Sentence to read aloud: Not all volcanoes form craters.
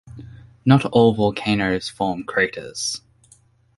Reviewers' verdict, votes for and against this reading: accepted, 2, 0